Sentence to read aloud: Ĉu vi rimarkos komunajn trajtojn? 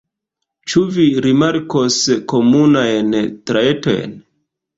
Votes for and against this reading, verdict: 0, 2, rejected